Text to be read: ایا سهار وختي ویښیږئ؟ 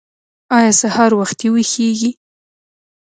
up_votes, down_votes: 0, 2